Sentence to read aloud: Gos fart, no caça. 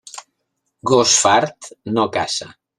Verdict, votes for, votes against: accepted, 2, 0